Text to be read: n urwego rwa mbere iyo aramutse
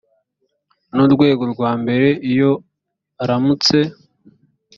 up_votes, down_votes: 2, 0